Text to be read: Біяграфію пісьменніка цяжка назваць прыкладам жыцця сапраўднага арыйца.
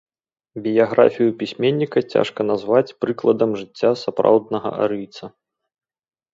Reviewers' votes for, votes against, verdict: 2, 0, accepted